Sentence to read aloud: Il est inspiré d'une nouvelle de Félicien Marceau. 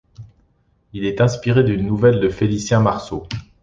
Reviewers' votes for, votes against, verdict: 2, 0, accepted